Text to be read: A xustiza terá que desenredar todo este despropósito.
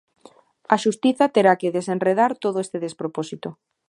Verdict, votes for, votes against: accepted, 2, 0